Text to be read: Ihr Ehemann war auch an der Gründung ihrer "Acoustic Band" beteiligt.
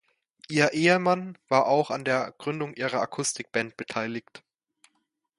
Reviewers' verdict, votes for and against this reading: accepted, 2, 0